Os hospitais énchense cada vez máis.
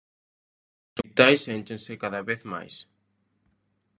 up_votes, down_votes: 0, 2